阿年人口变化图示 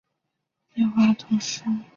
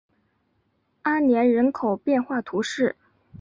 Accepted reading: second